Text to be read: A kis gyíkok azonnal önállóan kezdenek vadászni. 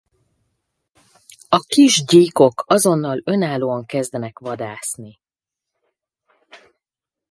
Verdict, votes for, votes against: accepted, 2, 0